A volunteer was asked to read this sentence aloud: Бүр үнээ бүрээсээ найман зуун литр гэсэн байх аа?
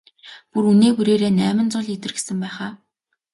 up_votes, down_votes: 2, 0